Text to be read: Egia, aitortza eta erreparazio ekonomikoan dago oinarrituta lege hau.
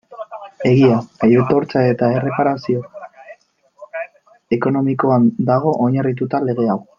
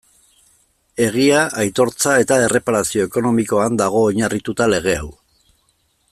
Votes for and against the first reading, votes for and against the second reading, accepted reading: 1, 2, 2, 0, second